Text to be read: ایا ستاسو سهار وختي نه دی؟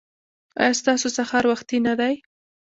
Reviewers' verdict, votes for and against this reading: accepted, 2, 1